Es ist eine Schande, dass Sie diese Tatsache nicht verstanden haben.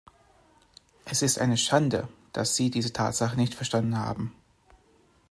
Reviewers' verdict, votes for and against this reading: accepted, 2, 0